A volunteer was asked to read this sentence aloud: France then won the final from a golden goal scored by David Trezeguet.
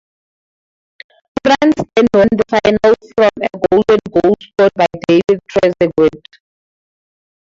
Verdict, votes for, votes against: rejected, 0, 4